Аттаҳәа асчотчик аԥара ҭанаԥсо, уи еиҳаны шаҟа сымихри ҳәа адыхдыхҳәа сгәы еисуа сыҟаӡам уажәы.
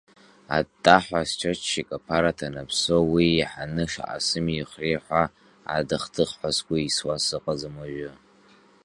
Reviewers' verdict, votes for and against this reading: accepted, 2, 0